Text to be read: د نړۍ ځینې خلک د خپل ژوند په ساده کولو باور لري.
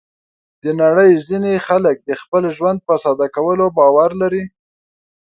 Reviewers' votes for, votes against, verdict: 2, 0, accepted